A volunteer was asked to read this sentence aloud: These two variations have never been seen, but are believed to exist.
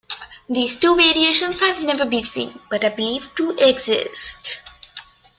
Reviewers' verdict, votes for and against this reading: accepted, 2, 0